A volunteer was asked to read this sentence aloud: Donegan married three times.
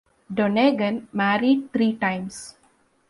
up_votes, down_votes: 2, 0